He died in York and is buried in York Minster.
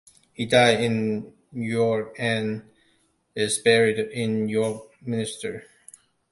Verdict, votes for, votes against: rejected, 0, 2